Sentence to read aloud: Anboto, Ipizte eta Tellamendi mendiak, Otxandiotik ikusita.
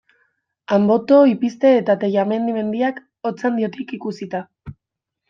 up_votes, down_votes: 0, 2